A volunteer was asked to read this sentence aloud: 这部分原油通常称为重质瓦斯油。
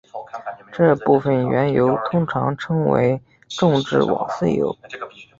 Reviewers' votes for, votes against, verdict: 2, 0, accepted